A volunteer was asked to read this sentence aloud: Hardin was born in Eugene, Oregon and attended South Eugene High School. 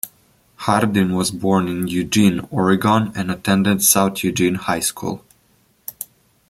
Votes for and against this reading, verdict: 2, 0, accepted